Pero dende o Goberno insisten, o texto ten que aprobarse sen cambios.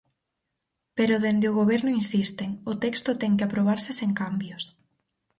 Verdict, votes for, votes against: accepted, 4, 0